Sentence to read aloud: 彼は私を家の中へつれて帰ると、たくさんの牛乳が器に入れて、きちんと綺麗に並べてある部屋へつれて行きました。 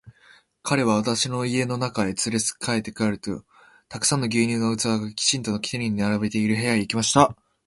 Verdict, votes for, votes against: rejected, 0, 2